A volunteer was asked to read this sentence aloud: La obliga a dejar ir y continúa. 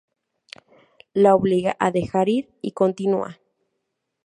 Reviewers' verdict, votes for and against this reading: accepted, 4, 0